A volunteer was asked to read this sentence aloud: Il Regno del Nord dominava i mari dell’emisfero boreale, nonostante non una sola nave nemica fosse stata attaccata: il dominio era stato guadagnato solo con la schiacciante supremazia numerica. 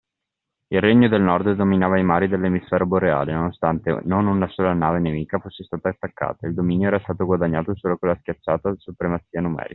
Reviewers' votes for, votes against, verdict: 1, 2, rejected